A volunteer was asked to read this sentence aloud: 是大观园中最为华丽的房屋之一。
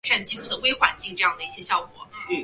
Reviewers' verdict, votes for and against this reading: rejected, 0, 3